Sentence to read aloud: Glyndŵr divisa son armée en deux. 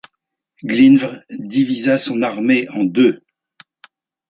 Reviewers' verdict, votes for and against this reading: accepted, 2, 0